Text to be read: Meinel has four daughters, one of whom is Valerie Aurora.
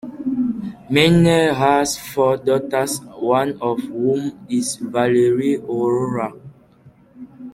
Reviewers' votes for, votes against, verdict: 2, 1, accepted